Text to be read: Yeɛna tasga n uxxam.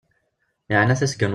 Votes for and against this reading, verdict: 0, 2, rejected